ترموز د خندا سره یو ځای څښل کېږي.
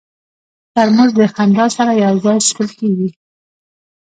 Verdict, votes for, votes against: accepted, 2, 0